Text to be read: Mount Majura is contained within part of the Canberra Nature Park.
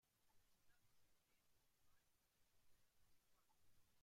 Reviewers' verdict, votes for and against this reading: rejected, 0, 2